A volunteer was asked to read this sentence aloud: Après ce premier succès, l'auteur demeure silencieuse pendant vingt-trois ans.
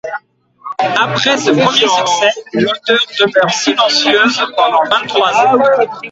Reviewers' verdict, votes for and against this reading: rejected, 1, 2